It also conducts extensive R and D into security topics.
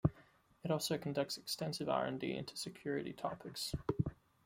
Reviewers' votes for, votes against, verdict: 2, 1, accepted